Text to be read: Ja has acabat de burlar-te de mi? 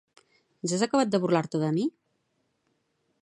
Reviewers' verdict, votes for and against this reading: accepted, 2, 0